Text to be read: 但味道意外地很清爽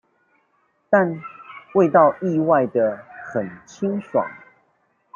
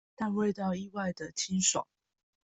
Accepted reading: first